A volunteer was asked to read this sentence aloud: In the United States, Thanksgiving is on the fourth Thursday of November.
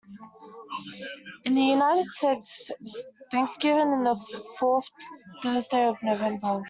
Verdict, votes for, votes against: rejected, 1, 2